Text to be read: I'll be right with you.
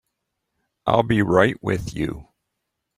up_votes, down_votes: 2, 0